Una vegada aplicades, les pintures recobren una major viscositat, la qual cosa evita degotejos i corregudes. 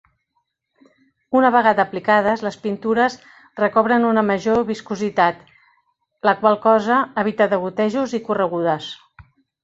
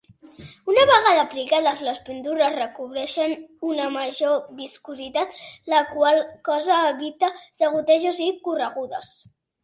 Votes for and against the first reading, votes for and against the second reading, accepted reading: 2, 0, 1, 2, first